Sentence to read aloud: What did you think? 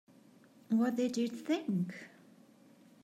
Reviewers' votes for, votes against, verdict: 2, 1, accepted